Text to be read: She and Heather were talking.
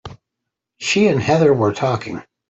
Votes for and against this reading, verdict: 2, 0, accepted